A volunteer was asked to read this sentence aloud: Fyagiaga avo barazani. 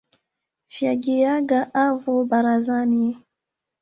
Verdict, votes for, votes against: rejected, 1, 2